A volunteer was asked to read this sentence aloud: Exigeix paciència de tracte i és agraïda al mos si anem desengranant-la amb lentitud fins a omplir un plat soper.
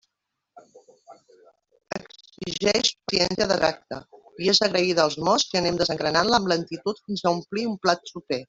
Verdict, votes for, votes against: rejected, 1, 2